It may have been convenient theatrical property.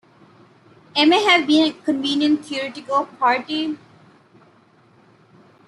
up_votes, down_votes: 0, 2